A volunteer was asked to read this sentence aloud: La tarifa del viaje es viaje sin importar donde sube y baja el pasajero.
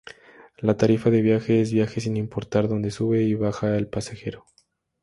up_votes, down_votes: 0, 2